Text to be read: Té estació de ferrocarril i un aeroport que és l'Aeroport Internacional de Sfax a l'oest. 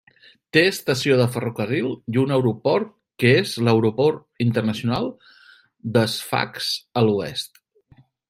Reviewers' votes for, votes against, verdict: 2, 0, accepted